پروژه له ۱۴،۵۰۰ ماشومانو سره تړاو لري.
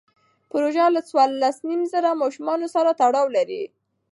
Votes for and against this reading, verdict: 0, 2, rejected